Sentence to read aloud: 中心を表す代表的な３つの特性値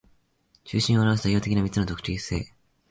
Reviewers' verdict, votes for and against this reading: rejected, 0, 2